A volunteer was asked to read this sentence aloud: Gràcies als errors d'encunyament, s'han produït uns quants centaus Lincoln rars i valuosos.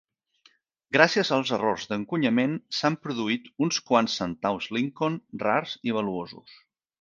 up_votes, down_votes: 8, 0